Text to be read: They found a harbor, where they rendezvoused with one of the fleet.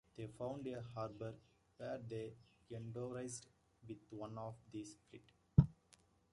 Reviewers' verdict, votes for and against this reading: rejected, 0, 2